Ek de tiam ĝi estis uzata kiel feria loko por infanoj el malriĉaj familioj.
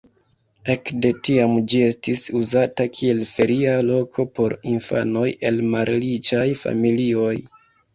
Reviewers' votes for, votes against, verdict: 0, 2, rejected